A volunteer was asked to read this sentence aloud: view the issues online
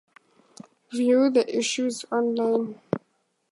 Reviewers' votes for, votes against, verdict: 4, 0, accepted